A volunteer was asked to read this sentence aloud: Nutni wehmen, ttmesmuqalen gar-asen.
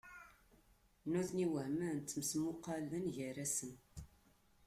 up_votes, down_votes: 2, 0